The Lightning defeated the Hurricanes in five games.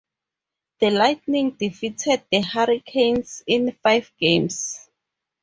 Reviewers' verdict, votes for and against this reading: accepted, 2, 0